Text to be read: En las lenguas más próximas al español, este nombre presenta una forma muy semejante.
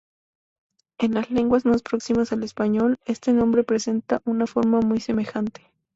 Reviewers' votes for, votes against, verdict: 2, 0, accepted